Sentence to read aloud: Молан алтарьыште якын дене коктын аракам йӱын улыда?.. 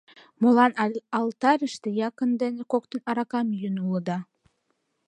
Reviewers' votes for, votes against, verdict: 1, 2, rejected